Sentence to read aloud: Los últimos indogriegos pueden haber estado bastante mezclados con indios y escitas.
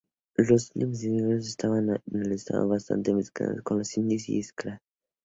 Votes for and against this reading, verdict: 0, 6, rejected